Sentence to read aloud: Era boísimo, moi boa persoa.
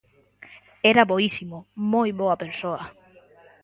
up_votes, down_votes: 2, 0